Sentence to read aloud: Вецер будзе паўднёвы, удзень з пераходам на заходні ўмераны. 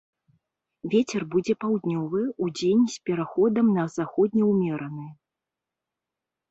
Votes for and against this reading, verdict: 2, 0, accepted